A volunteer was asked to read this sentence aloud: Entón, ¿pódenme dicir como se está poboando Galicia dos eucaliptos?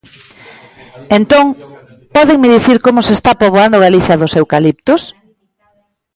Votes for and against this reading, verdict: 2, 0, accepted